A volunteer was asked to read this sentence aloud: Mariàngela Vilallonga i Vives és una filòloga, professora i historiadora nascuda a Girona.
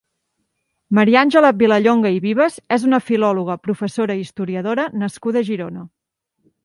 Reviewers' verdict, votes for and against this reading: accepted, 3, 1